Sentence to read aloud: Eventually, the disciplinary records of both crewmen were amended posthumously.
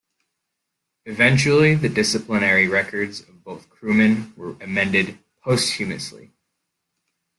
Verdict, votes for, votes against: accepted, 2, 1